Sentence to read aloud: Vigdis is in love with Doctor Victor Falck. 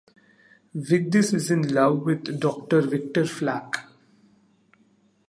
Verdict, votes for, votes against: rejected, 0, 2